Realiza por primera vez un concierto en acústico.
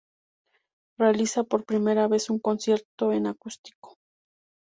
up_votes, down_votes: 2, 0